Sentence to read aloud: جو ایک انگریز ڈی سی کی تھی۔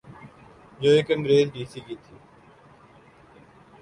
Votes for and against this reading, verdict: 2, 0, accepted